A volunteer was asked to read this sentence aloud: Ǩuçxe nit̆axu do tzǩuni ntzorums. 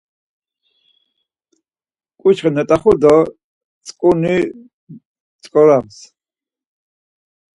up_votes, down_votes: 2, 4